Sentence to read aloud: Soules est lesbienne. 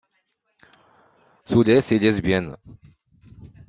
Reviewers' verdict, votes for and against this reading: accepted, 2, 0